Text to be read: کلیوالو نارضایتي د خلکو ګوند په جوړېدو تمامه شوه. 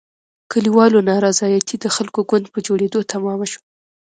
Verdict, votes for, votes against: rejected, 0, 2